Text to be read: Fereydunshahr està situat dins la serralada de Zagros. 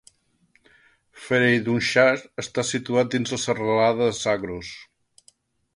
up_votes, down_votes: 1, 2